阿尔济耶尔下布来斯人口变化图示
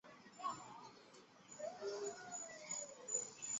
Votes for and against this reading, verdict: 0, 2, rejected